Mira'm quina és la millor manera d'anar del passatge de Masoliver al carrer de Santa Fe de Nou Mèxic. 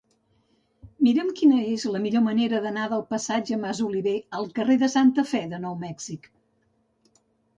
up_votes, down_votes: 1, 2